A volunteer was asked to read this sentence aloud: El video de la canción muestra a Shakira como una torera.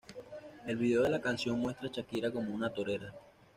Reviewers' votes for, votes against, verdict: 1, 2, rejected